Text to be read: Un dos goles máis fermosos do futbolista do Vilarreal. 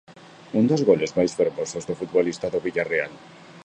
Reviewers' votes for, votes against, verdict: 2, 1, accepted